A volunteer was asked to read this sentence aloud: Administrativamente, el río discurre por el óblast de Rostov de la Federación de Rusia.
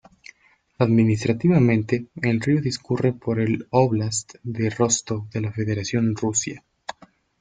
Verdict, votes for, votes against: rejected, 1, 2